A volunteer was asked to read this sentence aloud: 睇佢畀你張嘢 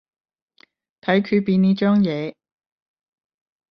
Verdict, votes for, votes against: rejected, 5, 10